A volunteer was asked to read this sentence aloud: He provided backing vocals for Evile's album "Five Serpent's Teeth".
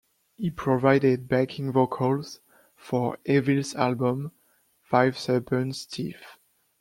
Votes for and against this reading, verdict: 1, 2, rejected